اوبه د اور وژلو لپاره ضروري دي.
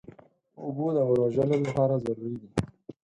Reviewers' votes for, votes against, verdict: 2, 4, rejected